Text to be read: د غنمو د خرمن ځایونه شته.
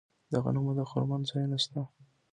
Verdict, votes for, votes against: rejected, 0, 2